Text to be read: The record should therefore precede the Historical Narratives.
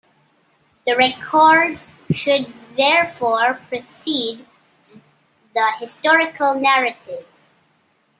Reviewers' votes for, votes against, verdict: 0, 2, rejected